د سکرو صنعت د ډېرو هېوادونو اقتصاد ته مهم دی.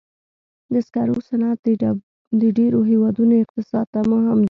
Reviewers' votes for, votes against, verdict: 0, 2, rejected